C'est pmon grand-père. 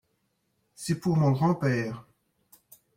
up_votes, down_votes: 0, 2